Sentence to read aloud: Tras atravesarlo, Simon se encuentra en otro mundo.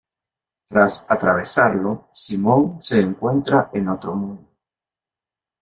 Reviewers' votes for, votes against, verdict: 1, 3, rejected